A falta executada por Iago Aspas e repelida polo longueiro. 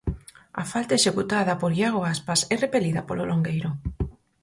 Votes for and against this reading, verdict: 4, 0, accepted